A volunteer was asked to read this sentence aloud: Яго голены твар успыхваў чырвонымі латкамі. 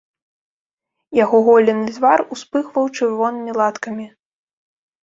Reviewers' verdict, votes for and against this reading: rejected, 1, 2